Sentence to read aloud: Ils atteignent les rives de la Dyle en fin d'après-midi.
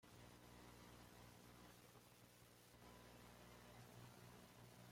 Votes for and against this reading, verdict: 0, 2, rejected